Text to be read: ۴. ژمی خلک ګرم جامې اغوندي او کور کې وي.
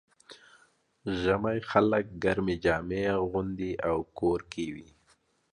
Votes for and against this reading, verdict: 0, 2, rejected